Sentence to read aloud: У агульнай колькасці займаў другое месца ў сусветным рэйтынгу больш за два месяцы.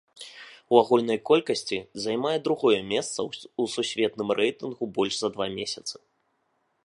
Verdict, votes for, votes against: rejected, 1, 2